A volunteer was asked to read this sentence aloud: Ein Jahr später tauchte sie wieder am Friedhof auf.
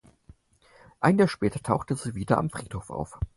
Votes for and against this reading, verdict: 4, 0, accepted